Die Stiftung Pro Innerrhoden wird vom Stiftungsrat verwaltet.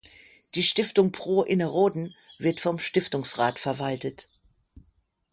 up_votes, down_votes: 6, 3